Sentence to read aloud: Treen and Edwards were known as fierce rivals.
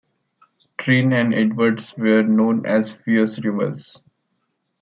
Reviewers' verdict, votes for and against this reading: rejected, 0, 2